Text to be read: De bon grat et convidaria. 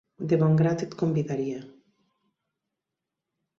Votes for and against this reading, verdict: 2, 1, accepted